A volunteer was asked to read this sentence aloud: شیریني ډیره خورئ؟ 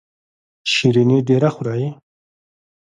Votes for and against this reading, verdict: 1, 2, rejected